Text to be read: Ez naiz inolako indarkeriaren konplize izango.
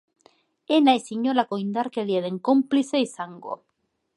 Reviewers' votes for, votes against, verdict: 2, 0, accepted